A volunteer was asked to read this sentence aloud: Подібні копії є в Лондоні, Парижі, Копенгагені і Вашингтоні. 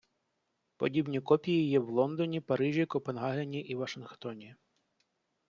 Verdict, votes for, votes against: accepted, 2, 0